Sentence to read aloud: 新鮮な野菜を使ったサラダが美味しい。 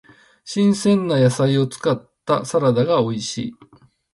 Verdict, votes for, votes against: accepted, 2, 0